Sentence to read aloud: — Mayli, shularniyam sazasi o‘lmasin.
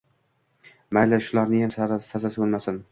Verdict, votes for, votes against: rejected, 1, 2